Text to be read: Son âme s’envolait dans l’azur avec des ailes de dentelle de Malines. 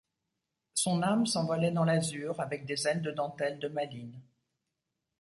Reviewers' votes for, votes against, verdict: 2, 0, accepted